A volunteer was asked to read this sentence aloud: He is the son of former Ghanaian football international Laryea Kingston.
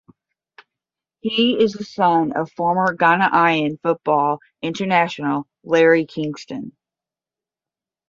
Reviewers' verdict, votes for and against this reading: rejected, 0, 10